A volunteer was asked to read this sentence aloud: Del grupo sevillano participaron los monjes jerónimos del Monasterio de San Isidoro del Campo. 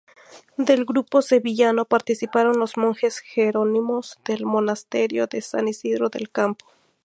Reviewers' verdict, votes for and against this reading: accepted, 4, 0